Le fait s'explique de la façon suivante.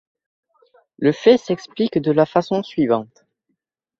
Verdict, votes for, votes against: accepted, 2, 0